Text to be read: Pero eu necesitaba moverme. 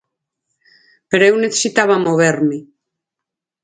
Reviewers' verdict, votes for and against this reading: accepted, 4, 0